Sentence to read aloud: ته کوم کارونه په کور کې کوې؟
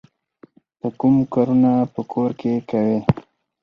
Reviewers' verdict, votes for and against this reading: accepted, 4, 0